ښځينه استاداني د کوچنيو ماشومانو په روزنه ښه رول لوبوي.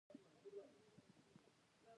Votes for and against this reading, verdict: 0, 2, rejected